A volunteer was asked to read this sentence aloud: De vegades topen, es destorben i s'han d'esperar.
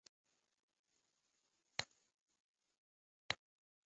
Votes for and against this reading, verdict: 0, 2, rejected